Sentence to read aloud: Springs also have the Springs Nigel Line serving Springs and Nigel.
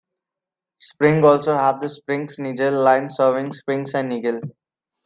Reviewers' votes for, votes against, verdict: 2, 1, accepted